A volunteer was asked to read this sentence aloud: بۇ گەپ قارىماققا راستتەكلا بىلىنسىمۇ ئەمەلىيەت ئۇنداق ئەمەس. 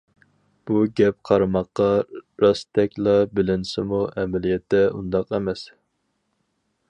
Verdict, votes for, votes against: rejected, 2, 4